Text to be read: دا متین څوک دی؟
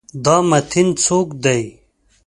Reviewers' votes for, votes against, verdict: 2, 0, accepted